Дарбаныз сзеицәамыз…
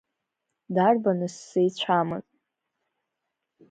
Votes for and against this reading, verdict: 0, 2, rejected